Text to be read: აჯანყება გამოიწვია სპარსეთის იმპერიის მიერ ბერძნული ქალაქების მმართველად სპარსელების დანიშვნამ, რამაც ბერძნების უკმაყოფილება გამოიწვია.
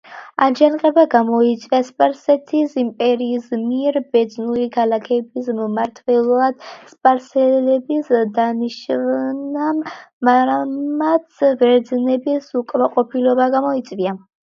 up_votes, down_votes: 2, 0